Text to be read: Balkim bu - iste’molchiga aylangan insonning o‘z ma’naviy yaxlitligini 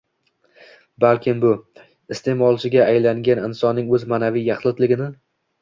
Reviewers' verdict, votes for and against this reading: accepted, 2, 0